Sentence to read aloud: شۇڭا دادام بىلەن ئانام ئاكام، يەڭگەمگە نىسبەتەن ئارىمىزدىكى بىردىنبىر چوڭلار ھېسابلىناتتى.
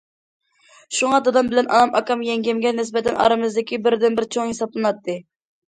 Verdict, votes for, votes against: rejected, 0, 2